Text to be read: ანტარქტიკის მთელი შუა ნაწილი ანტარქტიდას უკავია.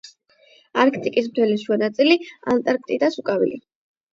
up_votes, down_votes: 8, 0